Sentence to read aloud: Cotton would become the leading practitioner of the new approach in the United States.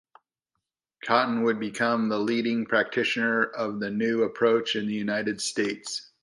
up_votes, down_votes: 0, 2